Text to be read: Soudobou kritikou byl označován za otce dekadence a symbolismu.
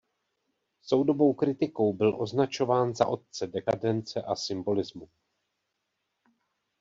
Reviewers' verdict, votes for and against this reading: accepted, 2, 0